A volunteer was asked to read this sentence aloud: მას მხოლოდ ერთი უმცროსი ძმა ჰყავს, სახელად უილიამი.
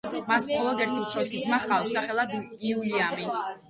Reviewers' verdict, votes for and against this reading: rejected, 0, 2